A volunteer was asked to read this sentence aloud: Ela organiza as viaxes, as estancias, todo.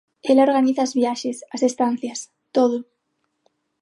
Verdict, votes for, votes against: accepted, 6, 0